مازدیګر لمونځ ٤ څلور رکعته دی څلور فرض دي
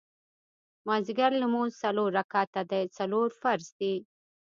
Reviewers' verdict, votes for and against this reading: rejected, 0, 2